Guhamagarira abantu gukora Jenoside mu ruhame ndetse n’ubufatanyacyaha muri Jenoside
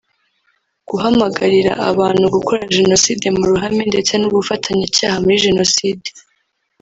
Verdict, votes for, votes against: rejected, 1, 2